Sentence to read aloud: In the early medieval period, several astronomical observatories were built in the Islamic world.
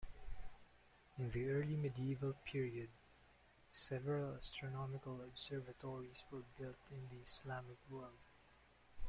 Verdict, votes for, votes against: accepted, 2, 1